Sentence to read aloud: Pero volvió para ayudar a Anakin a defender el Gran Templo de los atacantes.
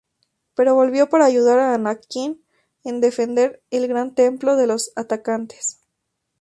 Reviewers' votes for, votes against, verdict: 0, 2, rejected